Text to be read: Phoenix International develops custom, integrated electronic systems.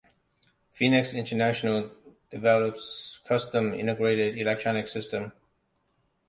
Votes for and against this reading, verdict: 2, 0, accepted